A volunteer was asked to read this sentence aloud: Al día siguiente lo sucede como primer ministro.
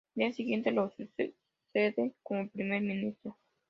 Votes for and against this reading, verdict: 2, 0, accepted